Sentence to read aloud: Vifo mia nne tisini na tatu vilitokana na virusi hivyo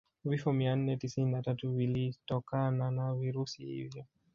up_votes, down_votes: 1, 2